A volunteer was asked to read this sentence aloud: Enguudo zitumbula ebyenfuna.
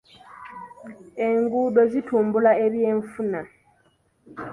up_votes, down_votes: 2, 0